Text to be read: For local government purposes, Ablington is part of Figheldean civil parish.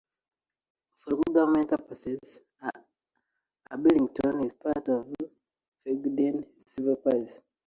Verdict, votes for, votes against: rejected, 0, 2